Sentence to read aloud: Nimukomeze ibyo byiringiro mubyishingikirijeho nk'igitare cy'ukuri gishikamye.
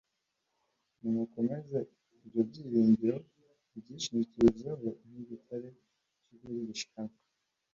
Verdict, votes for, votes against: accepted, 2, 1